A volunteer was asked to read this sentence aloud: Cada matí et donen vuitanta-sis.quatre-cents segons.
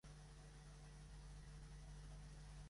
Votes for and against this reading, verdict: 1, 2, rejected